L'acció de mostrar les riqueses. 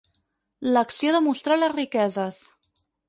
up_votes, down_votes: 4, 2